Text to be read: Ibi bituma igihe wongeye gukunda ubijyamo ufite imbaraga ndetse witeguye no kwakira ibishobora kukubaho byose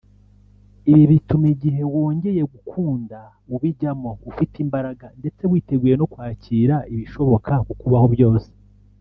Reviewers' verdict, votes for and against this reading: rejected, 1, 2